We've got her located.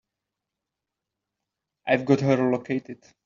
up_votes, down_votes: 0, 2